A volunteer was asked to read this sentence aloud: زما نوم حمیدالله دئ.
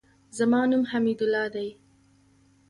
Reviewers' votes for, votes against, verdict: 2, 0, accepted